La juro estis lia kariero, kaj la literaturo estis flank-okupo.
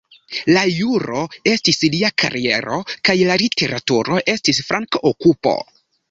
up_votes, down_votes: 2, 0